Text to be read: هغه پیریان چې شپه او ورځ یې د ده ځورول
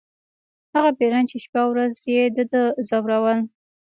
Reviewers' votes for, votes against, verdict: 0, 2, rejected